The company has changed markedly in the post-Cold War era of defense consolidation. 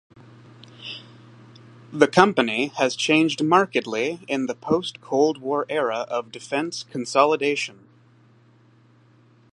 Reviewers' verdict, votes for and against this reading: accepted, 2, 0